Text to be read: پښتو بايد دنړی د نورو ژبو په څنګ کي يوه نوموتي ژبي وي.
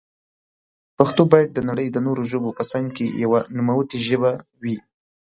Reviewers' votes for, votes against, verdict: 0, 2, rejected